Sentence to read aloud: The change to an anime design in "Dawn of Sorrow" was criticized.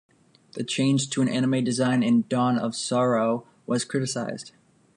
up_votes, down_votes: 2, 0